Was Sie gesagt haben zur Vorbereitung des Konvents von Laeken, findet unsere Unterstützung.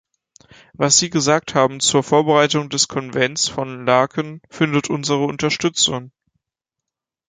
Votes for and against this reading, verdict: 2, 0, accepted